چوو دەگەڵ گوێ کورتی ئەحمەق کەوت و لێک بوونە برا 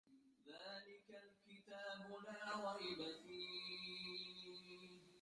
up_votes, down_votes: 0, 2